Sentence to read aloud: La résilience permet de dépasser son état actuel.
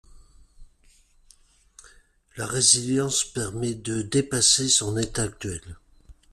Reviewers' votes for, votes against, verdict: 2, 0, accepted